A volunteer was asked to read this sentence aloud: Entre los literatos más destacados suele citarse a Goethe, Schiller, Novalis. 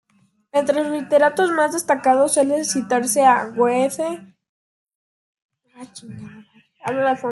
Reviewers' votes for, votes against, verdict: 0, 2, rejected